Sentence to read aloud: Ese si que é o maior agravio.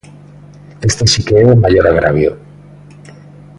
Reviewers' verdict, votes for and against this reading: rejected, 0, 2